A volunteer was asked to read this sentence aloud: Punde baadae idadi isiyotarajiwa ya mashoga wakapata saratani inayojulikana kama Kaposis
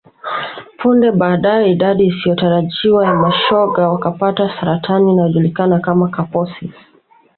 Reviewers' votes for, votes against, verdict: 2, 1, accepted